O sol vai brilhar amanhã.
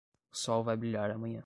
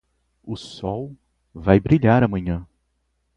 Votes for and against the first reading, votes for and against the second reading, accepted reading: 0, 10, 4, 0, second